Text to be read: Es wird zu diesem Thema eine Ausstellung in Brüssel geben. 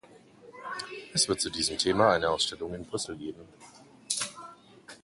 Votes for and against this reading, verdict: 2, 1, accepted